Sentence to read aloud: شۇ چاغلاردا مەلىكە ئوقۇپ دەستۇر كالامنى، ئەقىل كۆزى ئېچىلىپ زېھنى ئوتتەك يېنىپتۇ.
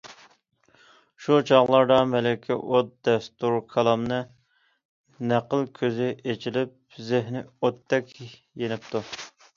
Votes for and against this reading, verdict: 0, 2, rejected